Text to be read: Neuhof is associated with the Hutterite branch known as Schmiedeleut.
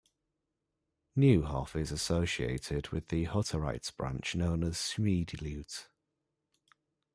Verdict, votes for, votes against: accepted, 2, 1